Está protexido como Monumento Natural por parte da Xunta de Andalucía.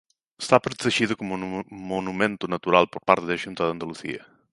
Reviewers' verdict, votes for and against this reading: rejected, 1, 2